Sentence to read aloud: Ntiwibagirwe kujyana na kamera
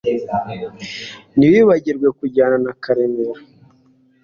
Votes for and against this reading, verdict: 2, 0, accepted